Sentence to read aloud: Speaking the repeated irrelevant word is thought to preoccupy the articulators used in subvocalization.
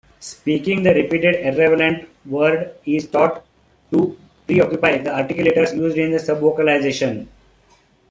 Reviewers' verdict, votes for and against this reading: rejected, 1, 2